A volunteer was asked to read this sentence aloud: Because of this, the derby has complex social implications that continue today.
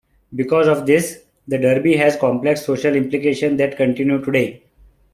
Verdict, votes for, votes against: accepted, 2, 1